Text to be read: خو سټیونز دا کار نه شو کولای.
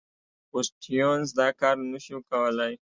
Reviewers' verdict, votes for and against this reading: accepted, 2, 0